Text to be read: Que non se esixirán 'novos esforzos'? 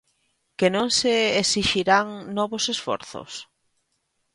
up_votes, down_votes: 0, 2